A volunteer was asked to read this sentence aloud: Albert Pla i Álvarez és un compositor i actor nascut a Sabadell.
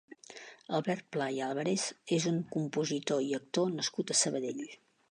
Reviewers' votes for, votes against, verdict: 2, 0, accepted